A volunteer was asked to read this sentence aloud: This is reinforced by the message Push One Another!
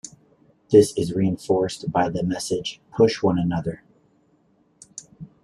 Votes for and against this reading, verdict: 2, 0, accepted